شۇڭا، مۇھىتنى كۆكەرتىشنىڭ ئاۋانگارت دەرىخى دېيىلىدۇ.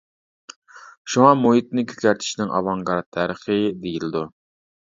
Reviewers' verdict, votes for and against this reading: rejected, 0, 2